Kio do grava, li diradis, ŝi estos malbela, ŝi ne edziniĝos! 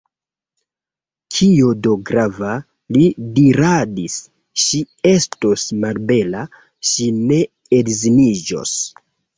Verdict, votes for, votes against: accepted, 2, 0